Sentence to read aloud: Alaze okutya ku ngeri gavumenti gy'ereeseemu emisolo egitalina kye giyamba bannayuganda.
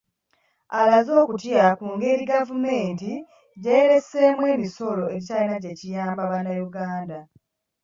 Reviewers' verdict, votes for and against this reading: rejected, 1, 2